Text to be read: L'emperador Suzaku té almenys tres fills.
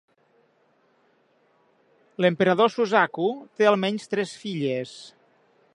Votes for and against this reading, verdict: 1, 4, rejected